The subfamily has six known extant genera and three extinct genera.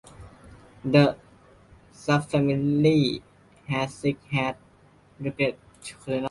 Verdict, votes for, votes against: rejected, 0, 2